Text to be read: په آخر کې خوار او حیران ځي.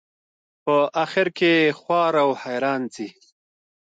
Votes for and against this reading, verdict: 1, 2, rejected